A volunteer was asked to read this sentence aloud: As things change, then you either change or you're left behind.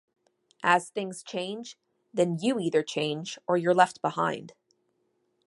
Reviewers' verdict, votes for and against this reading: accepted, 2, 0